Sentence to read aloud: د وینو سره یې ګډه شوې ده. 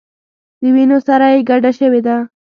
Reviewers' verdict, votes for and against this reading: accepted, 2, 0